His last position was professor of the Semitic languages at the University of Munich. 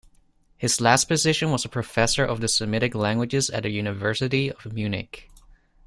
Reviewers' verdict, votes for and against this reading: rejected, 1, 2